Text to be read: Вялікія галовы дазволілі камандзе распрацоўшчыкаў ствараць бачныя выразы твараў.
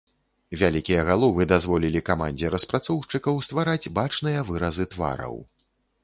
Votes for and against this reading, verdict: 2, 0, accepted